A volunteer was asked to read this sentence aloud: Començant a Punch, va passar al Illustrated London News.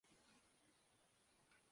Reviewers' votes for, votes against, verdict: 0, 2, rejected